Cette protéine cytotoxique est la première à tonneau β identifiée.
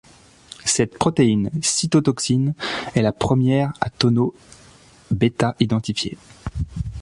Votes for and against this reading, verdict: 1, 2, rejected